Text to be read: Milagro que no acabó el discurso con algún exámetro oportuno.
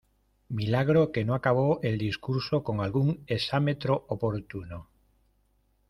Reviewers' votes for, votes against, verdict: 2, 0, accepted